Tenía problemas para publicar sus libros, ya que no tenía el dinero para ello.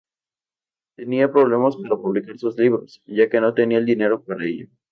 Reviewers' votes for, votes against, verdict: 0, 2, rejected